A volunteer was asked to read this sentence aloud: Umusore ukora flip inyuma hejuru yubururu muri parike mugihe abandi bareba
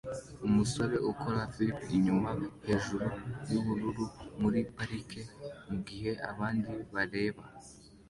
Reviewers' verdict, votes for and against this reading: accepted, 2, 1